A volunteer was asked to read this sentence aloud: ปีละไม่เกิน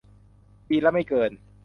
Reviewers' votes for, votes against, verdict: 2, 0, accepted